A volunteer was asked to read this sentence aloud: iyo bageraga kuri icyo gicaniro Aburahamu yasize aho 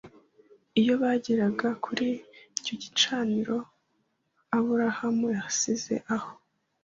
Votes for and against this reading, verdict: 2, 0, accepted